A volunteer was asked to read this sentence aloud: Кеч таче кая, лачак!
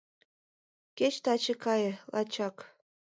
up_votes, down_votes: 1, 2